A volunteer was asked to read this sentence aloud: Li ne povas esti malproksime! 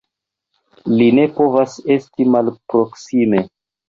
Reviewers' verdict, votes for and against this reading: accepted, 3, 0